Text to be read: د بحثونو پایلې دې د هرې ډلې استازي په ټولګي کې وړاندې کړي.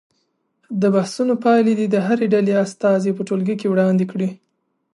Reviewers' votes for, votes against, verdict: 2, 0, accepted